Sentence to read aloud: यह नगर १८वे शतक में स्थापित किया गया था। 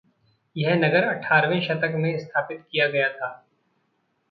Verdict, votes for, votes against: rejected, 0, 2